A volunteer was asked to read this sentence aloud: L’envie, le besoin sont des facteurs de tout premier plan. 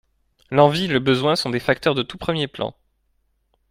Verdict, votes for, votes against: accepted, 2, 1